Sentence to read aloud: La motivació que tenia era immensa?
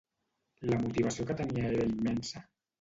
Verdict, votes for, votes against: rejected, 1, 2